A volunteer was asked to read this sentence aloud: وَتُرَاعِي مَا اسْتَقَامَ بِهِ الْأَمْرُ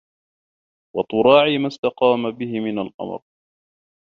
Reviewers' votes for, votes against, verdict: 0, 2, rejected